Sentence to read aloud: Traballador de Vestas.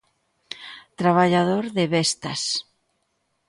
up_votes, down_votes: 2, 0